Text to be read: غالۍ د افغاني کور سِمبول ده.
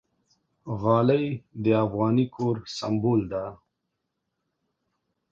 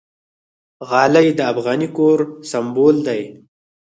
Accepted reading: first